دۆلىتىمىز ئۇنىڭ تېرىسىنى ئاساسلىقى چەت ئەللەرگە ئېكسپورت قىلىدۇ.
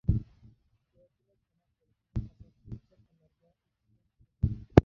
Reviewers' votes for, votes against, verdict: 0, 2, rejected